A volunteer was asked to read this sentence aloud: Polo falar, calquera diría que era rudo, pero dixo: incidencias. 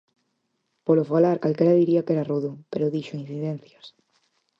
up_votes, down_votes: 4, 0